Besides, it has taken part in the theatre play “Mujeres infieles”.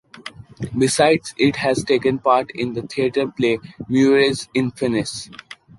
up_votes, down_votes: 2, 1